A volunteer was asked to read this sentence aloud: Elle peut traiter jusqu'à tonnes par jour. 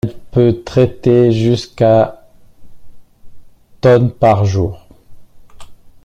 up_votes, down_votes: 2, 0